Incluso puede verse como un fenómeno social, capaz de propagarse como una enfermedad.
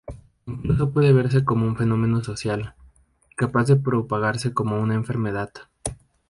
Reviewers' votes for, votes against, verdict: 2, 0, accepted